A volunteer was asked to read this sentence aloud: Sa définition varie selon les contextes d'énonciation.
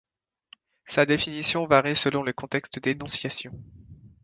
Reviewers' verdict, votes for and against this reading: accepted, 2, 0